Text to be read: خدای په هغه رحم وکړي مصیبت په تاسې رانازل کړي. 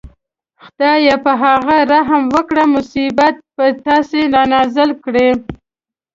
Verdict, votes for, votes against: accepted, 2, 0